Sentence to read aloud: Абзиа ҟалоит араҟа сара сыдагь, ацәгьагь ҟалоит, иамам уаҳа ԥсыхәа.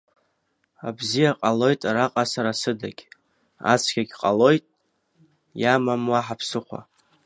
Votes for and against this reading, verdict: 2, 0, accepted